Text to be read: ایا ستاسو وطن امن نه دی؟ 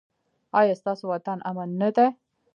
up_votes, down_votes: 1, 2